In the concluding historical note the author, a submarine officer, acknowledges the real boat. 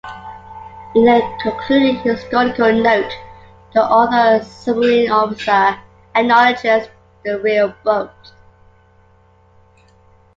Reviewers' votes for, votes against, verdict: 2, 1, accepted